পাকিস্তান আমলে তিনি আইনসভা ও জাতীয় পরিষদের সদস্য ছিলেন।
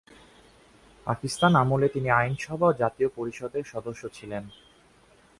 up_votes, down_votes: 2, 0